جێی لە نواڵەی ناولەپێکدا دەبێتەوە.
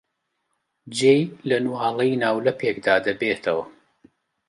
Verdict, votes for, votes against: accepted, 2, 0